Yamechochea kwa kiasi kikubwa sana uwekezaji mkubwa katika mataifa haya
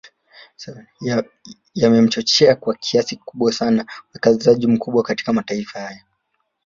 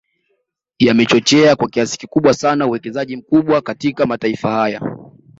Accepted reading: second